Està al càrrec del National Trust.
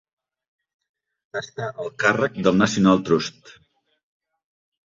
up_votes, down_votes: 0, 2